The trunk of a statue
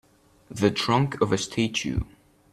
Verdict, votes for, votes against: rejected, 1, 2